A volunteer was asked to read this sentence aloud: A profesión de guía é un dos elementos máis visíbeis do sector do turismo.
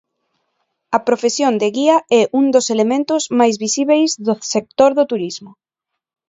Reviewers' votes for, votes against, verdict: 2, 0, accepted